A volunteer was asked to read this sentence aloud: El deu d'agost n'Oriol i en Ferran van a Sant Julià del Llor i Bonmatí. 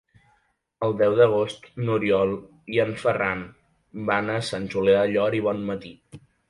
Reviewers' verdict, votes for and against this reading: accepted, 3, 0